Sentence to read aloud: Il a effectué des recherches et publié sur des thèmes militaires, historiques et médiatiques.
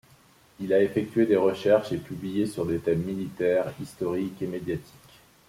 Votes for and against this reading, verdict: 2, 0, accepted